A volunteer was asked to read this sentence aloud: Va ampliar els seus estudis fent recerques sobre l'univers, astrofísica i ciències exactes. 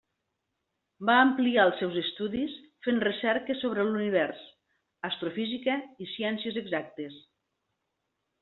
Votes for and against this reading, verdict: 2, 0, accepted